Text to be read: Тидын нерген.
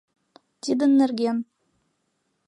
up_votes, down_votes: 2, 0